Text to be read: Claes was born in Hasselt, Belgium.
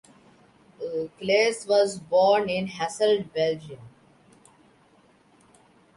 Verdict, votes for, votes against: rejected, 1, 2